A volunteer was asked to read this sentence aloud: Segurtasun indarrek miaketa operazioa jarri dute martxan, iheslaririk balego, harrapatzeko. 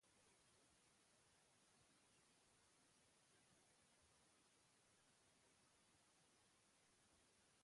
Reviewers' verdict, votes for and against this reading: rejected, 0, 2